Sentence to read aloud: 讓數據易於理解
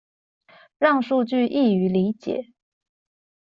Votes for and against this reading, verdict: 2, 0, accepted